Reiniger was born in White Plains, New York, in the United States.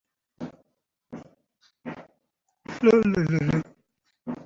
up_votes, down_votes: 0, 2